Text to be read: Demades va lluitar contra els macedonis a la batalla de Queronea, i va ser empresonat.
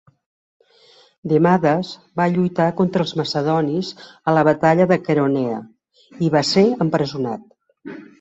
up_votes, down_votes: 2, 0